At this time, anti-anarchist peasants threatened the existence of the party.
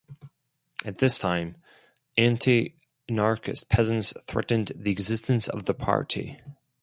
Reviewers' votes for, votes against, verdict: 2, 2, rejected